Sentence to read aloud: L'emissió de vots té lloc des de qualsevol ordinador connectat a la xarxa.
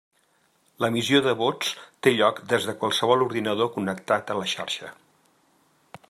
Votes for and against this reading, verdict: 2, 0, accepted